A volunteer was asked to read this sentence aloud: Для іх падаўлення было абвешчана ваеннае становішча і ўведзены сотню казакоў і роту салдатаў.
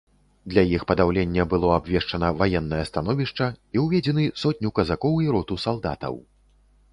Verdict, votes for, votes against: accepted, 2, 0